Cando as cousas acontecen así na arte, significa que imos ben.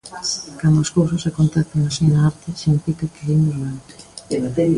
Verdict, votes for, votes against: rejected, 1, 2